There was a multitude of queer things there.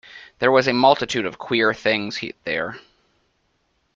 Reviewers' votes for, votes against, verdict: 0, 2, rejected